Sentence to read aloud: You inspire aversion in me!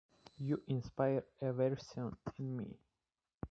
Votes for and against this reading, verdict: 1, 2, rejected